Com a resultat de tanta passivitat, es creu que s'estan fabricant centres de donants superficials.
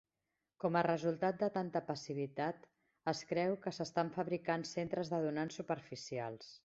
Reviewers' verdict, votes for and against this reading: accepted, 2, 0